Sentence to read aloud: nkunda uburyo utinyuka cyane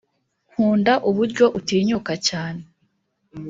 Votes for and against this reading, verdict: 2, 0, accepted